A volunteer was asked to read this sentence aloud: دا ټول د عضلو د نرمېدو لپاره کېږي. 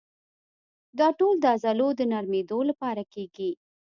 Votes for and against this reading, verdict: 2, 0, accepted